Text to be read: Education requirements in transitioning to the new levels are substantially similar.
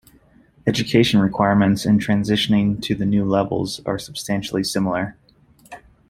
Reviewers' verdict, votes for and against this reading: rejected, 1, 2